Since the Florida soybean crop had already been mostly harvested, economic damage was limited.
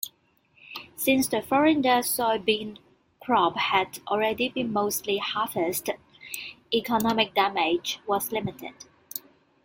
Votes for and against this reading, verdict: 1, 2, rejected